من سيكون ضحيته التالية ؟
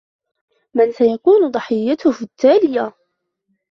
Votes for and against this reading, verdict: 1, 2, rejected